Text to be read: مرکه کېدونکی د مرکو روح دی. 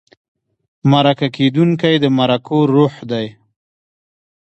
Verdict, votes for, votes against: rejected, 0, 2